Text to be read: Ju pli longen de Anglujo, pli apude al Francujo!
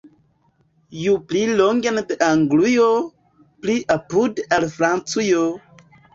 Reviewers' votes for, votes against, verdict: 1, 2, rejected